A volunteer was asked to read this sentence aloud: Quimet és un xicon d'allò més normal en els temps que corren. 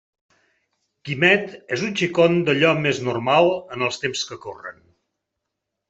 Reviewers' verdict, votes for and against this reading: accepted, 3, 0